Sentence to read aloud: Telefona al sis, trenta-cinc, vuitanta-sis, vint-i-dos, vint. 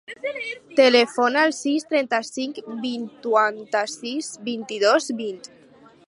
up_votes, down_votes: 2, 4